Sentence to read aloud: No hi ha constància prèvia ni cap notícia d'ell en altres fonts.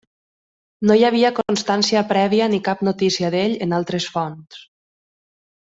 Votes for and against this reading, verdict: 1, 2, rejected